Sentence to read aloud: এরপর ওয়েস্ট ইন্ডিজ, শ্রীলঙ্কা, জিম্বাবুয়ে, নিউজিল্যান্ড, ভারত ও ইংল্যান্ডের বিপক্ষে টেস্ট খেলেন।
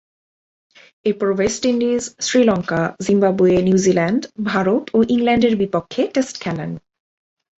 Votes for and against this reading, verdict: 7, 1, accepted